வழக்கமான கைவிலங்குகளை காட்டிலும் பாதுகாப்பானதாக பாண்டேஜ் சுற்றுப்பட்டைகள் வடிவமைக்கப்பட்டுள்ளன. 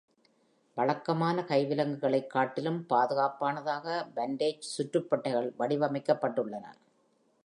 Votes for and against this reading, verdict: 2, 0, accepted